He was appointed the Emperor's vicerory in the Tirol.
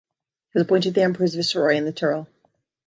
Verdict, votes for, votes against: rejected, 1, 2